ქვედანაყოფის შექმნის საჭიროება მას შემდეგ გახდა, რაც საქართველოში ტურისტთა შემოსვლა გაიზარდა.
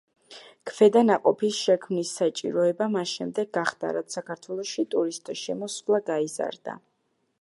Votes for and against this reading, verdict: 5, 1, accepted